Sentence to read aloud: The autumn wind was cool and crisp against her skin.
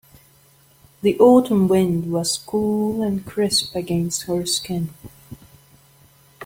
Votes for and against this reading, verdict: 2, 0, accepted